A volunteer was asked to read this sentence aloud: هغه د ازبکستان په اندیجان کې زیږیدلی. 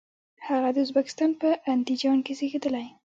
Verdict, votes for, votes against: rejected, 1, 2